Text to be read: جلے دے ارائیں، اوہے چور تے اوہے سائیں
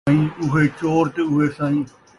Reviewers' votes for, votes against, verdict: 1, 2, rejected